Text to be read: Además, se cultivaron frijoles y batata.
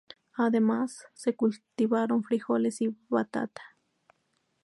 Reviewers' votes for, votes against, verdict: 2, 0, accepted